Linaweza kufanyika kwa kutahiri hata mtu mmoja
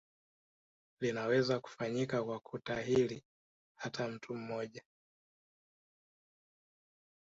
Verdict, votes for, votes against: rejected, 1, 2